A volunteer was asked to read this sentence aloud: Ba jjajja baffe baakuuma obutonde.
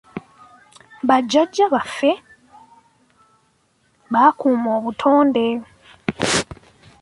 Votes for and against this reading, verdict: 3, 0, accepted